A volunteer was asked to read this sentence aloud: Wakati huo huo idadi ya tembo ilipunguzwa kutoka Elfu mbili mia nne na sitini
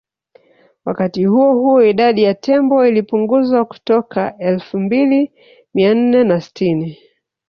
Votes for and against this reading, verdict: 3, 1, accepted